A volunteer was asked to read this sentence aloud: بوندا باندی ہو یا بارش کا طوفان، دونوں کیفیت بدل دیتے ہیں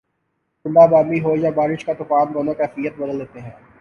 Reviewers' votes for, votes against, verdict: 4, 2, accepted